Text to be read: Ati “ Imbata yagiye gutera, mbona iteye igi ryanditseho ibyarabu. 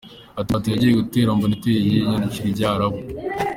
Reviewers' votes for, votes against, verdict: 0, 2, rejected